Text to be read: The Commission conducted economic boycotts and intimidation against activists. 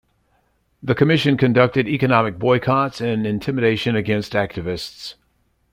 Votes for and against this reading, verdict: 2, 0, accepted